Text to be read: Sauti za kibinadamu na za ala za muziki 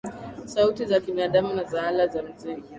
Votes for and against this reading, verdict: 2, 0, accepted